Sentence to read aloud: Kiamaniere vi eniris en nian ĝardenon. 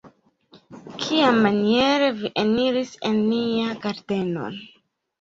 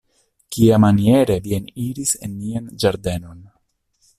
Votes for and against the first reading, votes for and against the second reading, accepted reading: 1, 2, 2, 0, second